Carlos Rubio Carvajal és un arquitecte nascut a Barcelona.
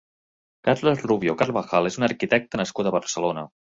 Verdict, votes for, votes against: accepted, 2, 0